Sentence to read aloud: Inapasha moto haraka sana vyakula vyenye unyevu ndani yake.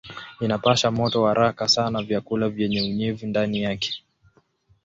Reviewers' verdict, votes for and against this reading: accepted, 8, 1